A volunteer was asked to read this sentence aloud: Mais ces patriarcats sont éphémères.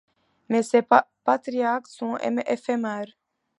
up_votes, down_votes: 1, 2